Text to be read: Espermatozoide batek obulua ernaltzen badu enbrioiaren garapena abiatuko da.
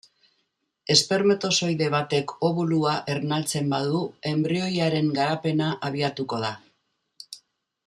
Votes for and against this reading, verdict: 2, 0, accepted